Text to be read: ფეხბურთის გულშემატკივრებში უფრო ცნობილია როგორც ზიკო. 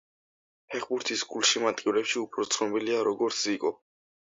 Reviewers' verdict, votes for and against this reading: rejected, 1, 2